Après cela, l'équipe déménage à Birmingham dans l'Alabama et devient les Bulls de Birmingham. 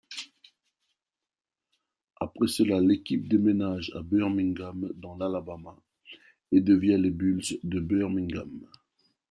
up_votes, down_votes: 2, 1